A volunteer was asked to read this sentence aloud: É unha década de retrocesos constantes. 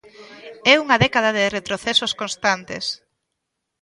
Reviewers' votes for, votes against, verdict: 1, 2, rejected